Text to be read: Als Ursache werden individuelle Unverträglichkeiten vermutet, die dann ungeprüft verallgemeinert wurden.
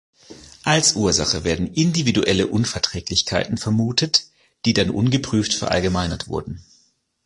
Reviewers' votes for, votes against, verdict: 2, 0, accepted